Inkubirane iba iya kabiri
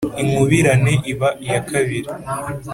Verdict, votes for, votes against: accepted, 2, 0